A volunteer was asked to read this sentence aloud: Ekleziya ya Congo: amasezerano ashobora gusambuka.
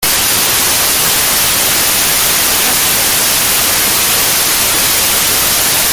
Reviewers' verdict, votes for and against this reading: rejected, 0, 2